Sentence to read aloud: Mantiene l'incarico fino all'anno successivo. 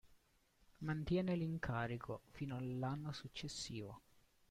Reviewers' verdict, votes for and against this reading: accepted, 2, 0